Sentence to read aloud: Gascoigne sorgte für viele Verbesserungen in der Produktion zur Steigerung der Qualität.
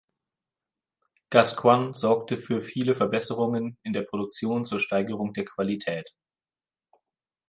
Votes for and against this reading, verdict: 2, 0, accepted